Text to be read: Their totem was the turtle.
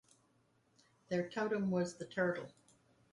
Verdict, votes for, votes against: accepted, 4, 0